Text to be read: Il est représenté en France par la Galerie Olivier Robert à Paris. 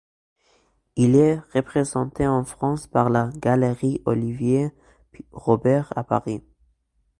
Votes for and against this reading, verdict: 1, 2, rejected